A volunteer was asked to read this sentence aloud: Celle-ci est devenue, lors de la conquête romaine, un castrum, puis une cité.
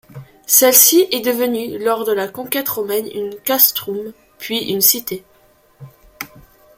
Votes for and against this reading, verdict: 2, 1, accepted